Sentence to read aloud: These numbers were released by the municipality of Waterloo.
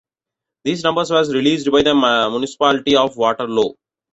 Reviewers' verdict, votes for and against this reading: accepted, 3, 1